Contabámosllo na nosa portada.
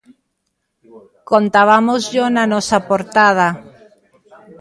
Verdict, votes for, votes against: accepted, 2, 0